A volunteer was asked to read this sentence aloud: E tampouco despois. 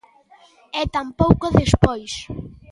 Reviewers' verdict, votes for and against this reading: accepted, 2, 0